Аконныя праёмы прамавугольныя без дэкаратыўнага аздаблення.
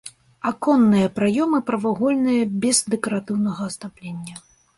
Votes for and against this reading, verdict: 1, 2, rejected